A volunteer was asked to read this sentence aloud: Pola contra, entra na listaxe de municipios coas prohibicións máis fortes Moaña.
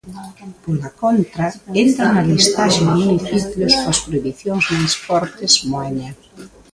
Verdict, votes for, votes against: rejected, 1, 2